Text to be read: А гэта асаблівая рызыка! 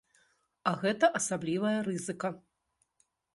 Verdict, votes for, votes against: rejected, 1, 2